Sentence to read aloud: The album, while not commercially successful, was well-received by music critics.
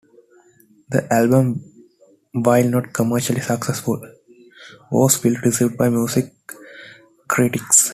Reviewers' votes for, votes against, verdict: 2, 0, accepted